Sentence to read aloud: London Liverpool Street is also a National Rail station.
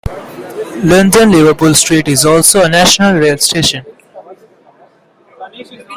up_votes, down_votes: 2, 0